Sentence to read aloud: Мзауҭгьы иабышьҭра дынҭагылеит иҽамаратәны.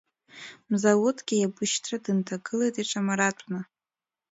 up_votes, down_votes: 2, 0